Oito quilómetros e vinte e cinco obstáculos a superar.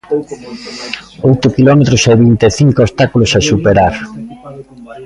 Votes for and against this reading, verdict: 2, 0, accepted